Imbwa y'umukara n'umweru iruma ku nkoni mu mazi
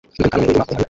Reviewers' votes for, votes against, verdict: 0, 2, rejected